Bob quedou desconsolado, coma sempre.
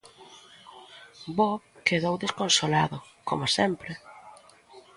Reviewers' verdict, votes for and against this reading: accepted, 2, 0